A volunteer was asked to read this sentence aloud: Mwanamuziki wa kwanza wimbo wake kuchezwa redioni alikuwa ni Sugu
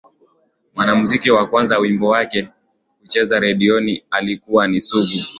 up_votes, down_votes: 2, 0